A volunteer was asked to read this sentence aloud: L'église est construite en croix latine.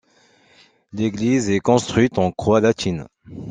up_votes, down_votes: 2, 0